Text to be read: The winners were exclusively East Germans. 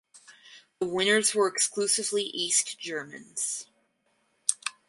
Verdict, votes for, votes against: rejected, 2, 2